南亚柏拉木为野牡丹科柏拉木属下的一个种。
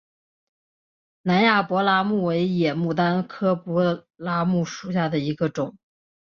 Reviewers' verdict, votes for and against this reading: accepted, 2, 0